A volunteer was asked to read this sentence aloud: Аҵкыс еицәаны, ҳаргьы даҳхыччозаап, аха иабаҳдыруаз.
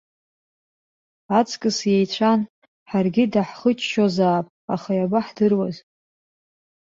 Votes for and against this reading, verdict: 1, 2, rejected